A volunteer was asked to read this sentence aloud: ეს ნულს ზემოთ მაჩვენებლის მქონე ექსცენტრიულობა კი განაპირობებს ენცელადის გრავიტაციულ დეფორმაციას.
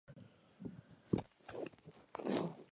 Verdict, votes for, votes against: rejected, 0, 2